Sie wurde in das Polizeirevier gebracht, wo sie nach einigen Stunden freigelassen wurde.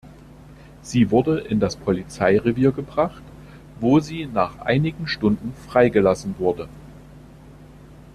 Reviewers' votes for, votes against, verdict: 2, 0, accepted